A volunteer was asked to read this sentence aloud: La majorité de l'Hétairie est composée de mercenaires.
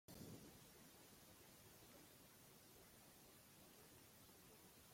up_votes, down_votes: 0, 2